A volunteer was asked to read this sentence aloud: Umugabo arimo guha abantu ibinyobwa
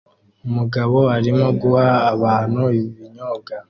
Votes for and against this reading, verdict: 0, 2, rejected